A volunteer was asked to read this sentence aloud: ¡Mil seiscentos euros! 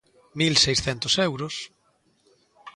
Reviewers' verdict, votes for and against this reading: accepted, 2, 0